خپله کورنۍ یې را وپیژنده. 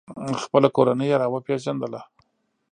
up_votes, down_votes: 1, 2